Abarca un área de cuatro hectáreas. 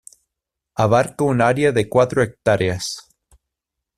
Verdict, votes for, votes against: rejected, 0, 2